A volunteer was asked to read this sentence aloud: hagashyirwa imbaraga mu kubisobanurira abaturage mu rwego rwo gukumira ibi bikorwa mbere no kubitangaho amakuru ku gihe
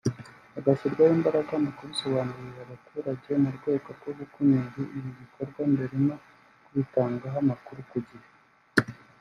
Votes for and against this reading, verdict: 0, 2, rejected